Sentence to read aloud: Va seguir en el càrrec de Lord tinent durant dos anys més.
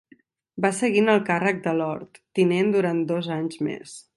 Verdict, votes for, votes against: accepted, 3, 0